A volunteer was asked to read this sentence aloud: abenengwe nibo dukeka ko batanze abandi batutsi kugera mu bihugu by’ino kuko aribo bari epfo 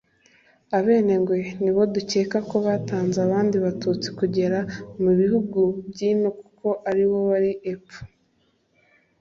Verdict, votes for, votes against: accepted, 2, 0